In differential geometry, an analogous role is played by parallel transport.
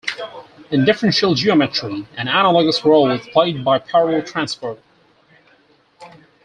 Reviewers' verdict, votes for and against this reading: rejected, 2, 4